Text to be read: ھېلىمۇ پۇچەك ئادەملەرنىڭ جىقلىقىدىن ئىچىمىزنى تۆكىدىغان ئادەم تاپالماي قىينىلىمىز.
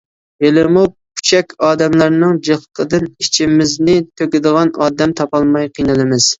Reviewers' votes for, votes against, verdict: 3, 0, accepted